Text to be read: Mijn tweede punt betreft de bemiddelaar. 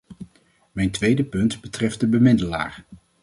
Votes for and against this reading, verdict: 2, 0, accepted